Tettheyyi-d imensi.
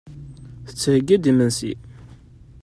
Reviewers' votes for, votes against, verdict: 2, 0, accepted